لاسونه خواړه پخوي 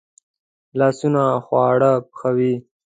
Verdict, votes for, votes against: accepted, 2, 0